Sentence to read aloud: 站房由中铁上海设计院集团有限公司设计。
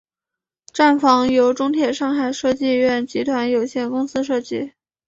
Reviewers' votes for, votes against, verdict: 3, 0, accepted